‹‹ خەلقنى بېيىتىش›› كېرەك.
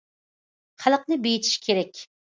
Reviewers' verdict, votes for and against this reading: rejected, 1, 2